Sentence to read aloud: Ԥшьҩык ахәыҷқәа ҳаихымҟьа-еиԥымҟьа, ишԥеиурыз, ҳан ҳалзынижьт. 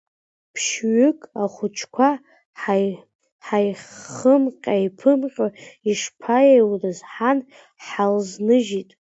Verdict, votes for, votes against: rejected, 0, 2